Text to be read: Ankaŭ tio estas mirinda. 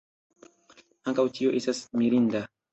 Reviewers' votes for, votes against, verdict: 0, 2, rejected